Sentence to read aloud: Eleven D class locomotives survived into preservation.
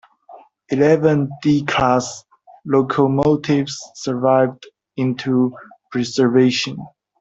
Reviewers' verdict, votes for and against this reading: accepted, 2, 0